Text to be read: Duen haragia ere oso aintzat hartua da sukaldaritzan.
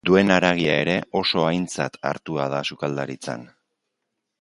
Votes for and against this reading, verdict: 2, 0, accepted